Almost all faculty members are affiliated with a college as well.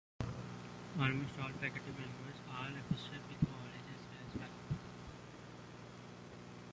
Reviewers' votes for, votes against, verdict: 0, 2, rejected